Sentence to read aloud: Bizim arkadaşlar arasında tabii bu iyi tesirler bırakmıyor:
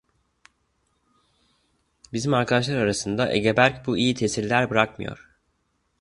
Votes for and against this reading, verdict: 0, 2, rejected